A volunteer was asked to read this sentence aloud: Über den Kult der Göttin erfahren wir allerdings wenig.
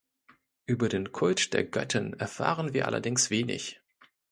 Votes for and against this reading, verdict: 2, 0, accepted